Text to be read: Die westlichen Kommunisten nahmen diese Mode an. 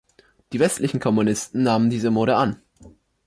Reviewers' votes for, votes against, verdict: 2, 0, accepted